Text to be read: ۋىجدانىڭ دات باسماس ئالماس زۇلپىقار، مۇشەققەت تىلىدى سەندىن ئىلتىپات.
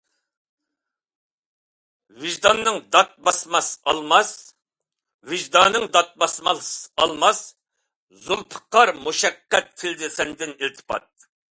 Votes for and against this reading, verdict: 0, 2, rejected